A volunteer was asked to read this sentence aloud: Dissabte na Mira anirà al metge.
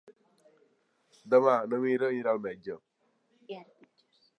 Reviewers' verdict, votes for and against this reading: rejected, 0, 2